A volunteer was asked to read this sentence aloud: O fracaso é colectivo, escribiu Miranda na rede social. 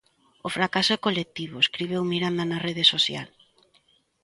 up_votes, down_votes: 2, 0